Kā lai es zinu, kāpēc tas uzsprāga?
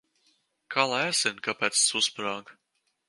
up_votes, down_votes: 2, 1